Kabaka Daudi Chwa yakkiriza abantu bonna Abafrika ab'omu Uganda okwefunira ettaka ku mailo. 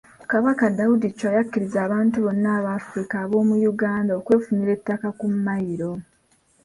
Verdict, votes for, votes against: accepted, 2, 1